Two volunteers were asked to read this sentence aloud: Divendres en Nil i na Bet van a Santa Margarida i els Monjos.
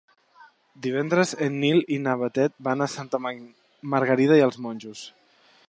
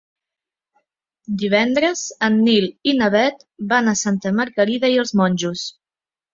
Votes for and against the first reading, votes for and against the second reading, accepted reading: 1, 2, 2, 0, second